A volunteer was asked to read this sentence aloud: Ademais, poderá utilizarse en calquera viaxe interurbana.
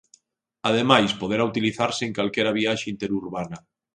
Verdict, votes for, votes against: accepted, 2, 0